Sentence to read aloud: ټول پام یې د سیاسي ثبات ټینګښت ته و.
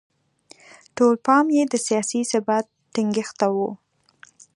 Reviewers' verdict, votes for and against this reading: accepted, 2, 0